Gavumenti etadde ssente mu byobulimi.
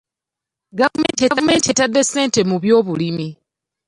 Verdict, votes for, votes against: rejected, 0, 2